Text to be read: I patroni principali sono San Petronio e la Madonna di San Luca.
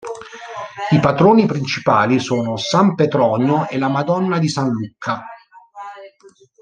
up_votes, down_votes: 0, 2